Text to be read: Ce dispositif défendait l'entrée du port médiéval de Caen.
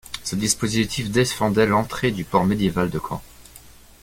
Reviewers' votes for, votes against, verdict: 2, 0, accepted